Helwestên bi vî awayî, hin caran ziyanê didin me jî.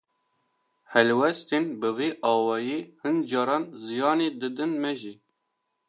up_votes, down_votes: 2, 0